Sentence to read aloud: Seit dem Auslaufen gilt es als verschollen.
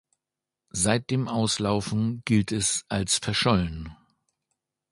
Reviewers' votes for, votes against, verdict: 2, 0, accepted